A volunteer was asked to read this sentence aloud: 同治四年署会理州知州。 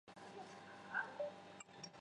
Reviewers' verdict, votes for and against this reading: rejected, 0, 2